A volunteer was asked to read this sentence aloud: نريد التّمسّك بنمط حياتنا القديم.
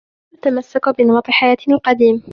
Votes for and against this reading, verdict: 1, 2, rejected